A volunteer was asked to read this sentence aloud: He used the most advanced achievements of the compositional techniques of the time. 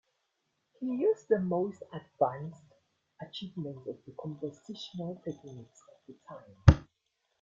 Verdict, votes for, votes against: rejected, 0, 2